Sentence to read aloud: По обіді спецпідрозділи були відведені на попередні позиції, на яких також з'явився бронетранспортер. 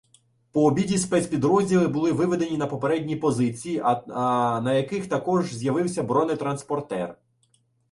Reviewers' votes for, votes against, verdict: 0, 2, rejected